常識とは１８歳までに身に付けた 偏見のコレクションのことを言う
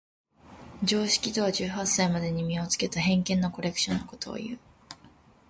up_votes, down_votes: 0, 2